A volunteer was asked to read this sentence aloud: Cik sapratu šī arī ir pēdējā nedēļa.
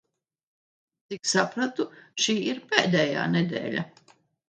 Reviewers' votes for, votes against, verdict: 0, 2, rejected